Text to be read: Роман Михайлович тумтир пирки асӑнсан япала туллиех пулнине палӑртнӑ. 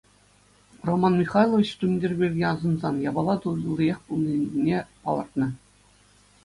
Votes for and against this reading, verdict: 2, 0, accepted